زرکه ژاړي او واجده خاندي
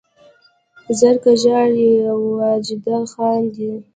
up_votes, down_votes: 0, 2